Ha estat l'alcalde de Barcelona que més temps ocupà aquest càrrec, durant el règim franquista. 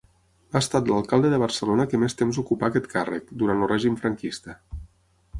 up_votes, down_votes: 9, 0